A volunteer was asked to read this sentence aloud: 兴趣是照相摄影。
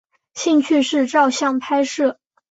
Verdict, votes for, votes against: rejected, 1, 3